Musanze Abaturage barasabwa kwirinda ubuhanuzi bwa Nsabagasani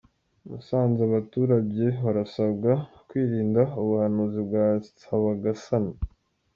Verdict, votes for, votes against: accepted, 2, 0